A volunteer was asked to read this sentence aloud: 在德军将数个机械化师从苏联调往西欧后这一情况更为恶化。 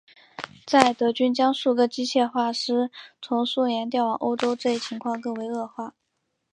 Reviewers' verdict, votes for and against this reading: accepted, 3, 0